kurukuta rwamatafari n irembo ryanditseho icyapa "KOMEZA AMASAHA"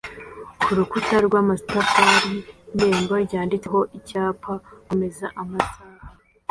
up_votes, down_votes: 2, 0